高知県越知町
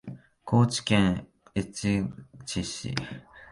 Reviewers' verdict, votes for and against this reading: rejected, 2, 3